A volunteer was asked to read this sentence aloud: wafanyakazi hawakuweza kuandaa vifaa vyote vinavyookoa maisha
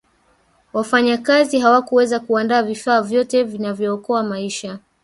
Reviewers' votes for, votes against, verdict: 3, 1, accepted